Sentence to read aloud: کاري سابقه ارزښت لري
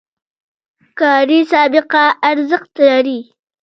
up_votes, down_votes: 1, 2